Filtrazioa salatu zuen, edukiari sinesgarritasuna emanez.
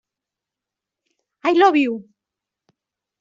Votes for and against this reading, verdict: 0, 2, rejected